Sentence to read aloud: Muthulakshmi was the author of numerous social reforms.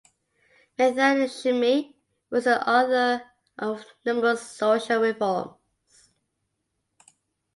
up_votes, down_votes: 0, 2